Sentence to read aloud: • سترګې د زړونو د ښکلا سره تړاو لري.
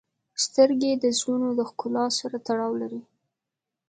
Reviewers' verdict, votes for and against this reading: accepted, 2, 0